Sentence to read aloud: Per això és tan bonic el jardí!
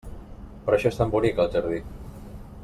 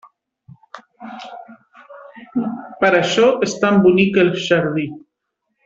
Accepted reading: first